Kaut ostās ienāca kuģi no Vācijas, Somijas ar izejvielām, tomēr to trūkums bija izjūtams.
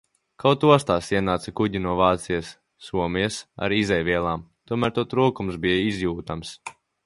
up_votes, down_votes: 2, 0